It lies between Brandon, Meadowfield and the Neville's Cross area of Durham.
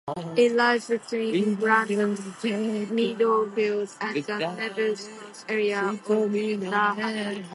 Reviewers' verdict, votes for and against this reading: rejected, 0, 2